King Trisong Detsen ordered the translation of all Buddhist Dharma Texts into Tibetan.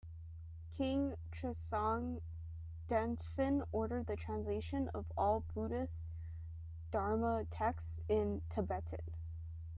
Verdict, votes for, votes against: rejected, 1, 2